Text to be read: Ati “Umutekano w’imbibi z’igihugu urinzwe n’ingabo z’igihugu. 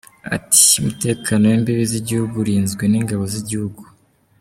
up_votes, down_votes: 1, 2